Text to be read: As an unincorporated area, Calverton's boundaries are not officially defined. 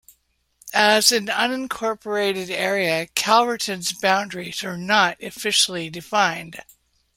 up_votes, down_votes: 2, 0